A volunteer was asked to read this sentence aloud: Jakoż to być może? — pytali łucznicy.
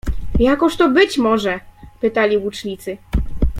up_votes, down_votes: 2, 0